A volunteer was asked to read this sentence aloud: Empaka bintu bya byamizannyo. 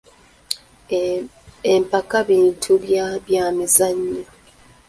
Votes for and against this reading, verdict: 2, 1, accepted